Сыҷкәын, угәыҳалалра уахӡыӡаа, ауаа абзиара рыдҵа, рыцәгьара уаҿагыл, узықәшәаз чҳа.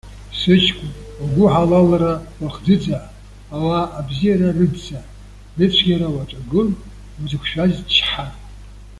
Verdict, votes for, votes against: accepted, 2, 1